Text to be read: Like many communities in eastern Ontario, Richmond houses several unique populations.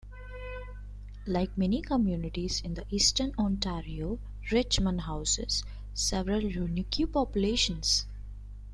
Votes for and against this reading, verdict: 2, 0, accepted